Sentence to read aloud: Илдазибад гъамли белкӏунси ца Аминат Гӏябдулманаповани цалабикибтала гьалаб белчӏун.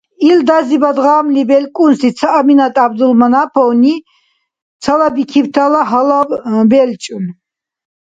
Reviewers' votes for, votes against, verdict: 0, 2, rejected